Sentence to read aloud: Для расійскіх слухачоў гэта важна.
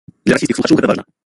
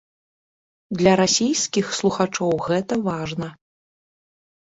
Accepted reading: second